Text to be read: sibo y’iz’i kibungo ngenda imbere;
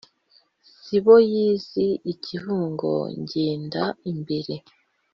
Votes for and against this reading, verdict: 2, 0, accepted